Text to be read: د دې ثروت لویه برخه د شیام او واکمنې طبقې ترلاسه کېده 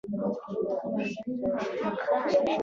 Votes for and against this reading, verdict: 1, 2, rejected